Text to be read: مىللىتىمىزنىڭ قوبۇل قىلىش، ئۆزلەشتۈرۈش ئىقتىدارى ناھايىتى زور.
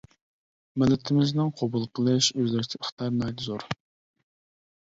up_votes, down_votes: 0, 2